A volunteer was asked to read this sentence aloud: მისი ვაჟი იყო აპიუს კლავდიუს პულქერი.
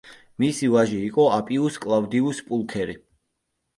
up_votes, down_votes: 2, 0